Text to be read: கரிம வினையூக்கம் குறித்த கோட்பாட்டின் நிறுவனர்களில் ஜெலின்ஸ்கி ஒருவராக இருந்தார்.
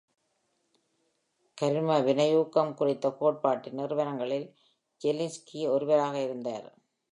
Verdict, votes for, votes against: accepted, 2, 0